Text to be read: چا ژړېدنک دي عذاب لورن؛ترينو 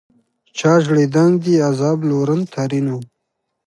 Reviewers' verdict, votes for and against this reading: accepted, 2, 0